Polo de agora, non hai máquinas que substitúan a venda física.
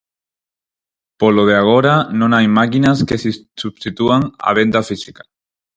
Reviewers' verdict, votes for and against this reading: rejected, 0, 4